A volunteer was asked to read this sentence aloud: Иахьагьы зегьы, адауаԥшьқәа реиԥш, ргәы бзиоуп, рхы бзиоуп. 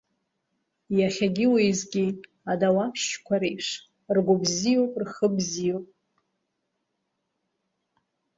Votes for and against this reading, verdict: 1, 2, rejected